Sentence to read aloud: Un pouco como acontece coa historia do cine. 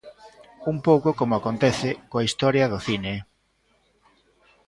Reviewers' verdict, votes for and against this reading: rejected, 1, 2